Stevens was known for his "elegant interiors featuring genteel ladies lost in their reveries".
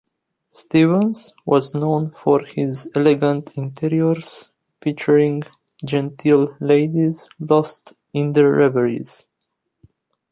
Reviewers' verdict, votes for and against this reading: accepted, 2, 0